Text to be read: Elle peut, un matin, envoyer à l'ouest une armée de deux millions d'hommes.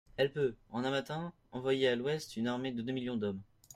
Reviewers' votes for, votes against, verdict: 1, 2, rejected